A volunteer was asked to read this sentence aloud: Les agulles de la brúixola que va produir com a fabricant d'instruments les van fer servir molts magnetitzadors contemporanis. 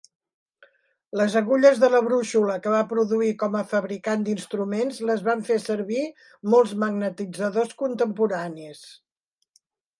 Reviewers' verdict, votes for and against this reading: accepted, 2, 0